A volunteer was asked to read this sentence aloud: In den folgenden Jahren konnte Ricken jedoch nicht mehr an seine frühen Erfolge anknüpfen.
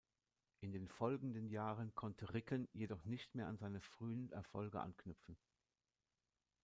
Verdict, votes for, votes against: accepted, 2, 0